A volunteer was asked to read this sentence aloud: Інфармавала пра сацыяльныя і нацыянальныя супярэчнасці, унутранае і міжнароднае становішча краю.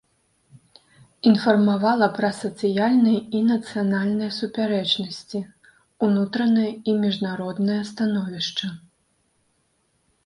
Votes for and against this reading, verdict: 0, 2, rejected